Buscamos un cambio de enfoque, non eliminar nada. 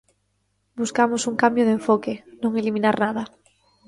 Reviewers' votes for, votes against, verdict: 2, 0, accepted